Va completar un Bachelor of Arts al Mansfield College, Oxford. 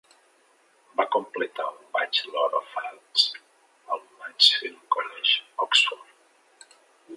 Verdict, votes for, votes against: accepted, 2, 0